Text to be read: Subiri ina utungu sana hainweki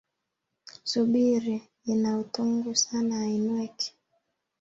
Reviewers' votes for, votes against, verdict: 2, 1, accepted